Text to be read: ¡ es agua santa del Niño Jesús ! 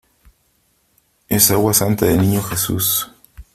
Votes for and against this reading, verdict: 2, 0, accepted